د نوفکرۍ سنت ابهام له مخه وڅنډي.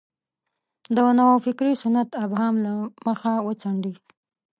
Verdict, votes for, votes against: rejected, 1, 2